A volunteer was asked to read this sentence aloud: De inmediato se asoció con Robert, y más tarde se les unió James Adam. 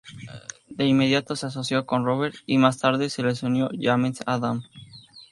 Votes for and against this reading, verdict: 2, 0, accepted